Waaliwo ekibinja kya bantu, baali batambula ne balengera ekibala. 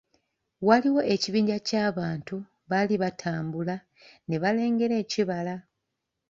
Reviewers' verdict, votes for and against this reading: accepted, 2, 0